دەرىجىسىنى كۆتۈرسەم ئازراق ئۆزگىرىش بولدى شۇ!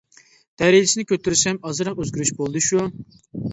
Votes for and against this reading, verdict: 2, 0, accepted